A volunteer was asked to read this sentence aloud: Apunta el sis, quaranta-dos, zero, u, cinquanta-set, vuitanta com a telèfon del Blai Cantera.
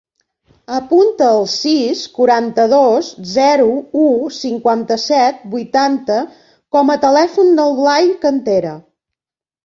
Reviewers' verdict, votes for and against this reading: accepted, 2, 0